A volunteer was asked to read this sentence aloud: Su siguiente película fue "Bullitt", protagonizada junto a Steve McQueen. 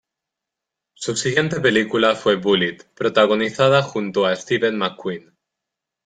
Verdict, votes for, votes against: rejected, 1, 2